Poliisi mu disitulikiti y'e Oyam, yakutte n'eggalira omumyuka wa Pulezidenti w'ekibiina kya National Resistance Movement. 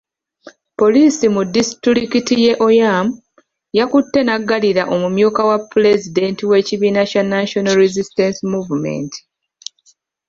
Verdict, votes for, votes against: rejected, 1, 2